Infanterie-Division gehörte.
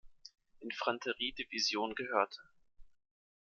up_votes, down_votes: 2, 0